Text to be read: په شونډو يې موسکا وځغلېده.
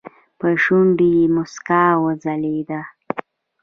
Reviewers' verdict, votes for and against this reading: accepted, 3, 0